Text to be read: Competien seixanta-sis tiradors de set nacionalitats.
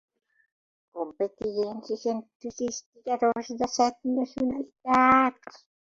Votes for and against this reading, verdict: 1, 3, rejected